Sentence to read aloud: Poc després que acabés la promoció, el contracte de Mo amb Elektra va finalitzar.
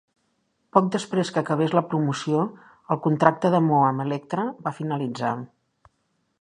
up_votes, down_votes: 2, 0